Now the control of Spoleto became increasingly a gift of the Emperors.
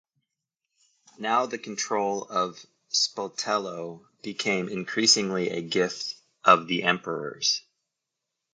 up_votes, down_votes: 0, 2